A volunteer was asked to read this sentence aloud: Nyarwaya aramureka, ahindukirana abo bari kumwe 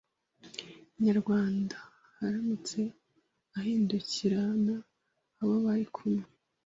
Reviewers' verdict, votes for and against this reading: rejected, 1, 2